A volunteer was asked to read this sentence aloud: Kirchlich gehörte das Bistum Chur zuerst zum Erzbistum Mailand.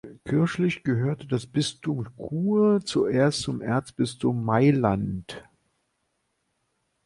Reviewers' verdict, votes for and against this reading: accepted, 2, 0